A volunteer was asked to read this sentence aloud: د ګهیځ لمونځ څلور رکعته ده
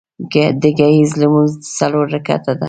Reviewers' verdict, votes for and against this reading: rejected, 1, 2